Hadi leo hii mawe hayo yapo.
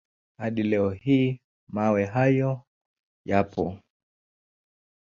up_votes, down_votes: 2, 0